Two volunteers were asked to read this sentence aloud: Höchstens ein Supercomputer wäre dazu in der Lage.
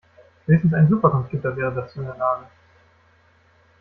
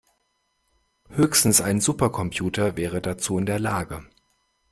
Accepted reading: second